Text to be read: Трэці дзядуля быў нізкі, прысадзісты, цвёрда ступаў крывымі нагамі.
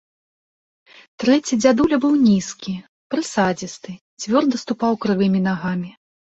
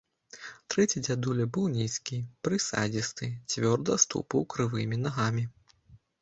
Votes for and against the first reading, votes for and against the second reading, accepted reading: 2, 0, 0, 2, first